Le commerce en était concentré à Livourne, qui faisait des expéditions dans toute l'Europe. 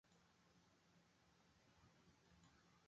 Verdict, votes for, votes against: rejected, 0, 2